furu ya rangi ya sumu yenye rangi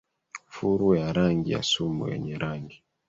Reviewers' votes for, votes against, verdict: 1, 2, rejected